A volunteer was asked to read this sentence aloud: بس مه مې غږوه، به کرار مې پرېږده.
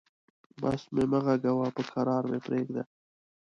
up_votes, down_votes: 0, 2